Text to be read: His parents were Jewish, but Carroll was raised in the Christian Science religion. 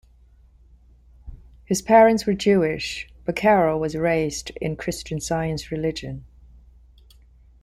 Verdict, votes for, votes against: rejected, 0, 2